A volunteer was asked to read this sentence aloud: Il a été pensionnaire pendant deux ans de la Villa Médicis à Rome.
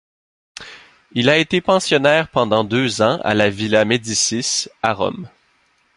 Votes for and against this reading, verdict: 1, 2, rejected